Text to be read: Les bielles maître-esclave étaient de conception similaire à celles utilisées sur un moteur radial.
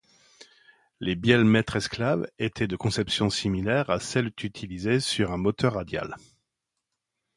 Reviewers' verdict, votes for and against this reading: rejected, 0, 2